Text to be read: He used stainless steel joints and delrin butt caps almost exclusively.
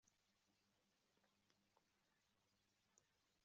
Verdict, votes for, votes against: rejected, 0, 2